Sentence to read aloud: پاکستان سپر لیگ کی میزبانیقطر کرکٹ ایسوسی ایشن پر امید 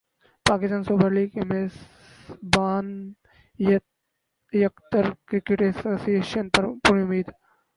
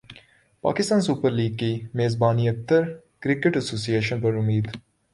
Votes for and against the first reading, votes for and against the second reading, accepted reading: 0, 6, 3, 0, second